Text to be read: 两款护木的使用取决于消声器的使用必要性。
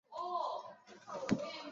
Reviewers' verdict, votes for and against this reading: rejected, 0, 5